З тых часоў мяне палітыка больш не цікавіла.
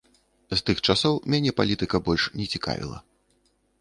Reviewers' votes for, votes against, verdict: 2, 0, accepted